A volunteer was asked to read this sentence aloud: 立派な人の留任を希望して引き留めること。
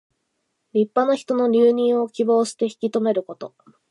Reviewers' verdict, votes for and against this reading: accepted, 2, 0